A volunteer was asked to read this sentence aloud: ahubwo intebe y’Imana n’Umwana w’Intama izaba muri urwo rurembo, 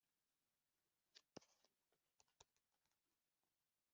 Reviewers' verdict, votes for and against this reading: rejected, 1, 2